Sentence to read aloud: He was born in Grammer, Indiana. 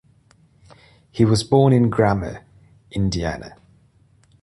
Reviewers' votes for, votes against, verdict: 2, 0, accepted